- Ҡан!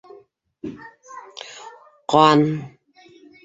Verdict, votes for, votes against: rejected, 0, 3